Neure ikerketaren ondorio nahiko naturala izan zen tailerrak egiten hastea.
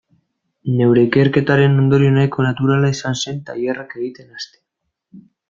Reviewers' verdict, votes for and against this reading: rejected, 0, 2